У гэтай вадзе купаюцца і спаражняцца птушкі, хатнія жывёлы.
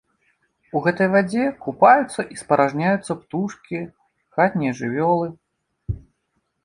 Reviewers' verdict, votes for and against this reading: rejected, 1, 2